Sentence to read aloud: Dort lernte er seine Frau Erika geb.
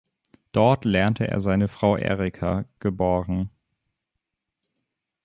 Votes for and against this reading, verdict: 1, 3, rejected